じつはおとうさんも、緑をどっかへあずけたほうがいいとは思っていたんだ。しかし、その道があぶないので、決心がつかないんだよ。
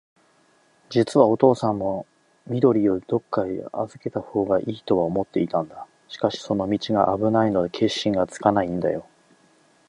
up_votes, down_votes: 2, 0